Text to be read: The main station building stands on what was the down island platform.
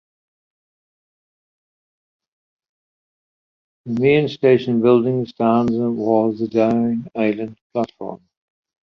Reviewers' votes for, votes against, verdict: 0, 2, rejected